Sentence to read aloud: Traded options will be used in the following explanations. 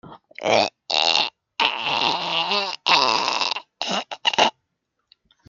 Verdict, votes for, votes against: rejected, 0, 2